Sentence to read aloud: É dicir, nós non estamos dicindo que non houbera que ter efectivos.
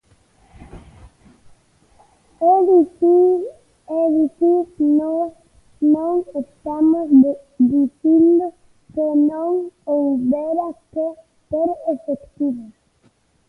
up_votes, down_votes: 0, 2